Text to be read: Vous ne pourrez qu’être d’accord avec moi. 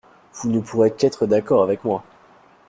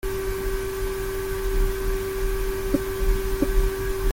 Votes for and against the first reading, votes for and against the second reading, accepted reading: 2, 0, 0, 2, first